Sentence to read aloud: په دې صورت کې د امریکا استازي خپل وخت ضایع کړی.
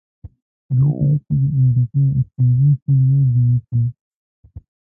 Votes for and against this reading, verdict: 0, 2, rejected